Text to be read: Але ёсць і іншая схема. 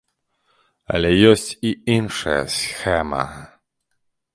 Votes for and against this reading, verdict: 1, 2, rejected